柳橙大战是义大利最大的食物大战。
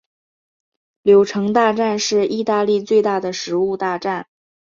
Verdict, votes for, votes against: accepted, 3, 0